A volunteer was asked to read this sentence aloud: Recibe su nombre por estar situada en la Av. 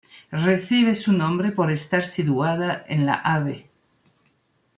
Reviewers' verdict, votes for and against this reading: rejected, 0, 2